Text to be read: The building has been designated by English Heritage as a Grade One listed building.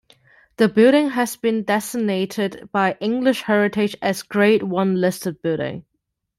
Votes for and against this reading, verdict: 2, 0, accepted